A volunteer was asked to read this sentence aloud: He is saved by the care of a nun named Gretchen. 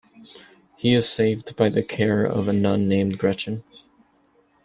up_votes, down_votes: 2, 0